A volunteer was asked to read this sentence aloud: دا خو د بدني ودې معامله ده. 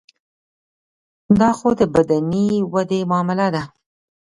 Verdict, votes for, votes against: accepted, 2, 0